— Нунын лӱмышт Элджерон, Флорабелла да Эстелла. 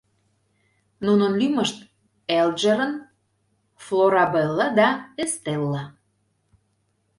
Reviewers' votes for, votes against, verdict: 2, 0, accepted